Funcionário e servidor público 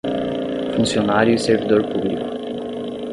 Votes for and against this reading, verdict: 5, 5, rejected